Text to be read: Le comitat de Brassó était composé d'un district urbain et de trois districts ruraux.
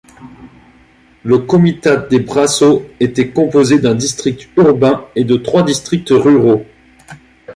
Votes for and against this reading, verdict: 1, 2, rejected